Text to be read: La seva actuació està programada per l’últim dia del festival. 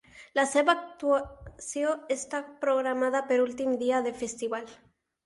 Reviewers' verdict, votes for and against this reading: rejected, 0, 4